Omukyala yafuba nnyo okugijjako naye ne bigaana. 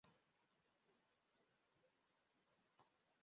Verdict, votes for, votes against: rejected, 0, 2